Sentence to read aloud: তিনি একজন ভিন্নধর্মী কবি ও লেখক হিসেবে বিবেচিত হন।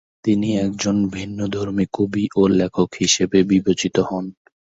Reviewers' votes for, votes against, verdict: 2, 1, accepted